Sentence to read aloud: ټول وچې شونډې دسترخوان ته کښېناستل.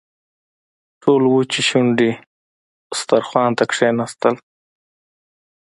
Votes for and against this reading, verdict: 2, 0, accepted